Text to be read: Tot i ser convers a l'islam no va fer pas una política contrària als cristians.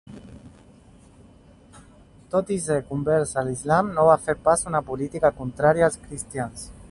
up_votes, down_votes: 2, 0